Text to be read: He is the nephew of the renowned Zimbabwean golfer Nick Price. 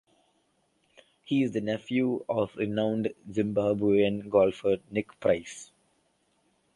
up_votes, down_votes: 2, 1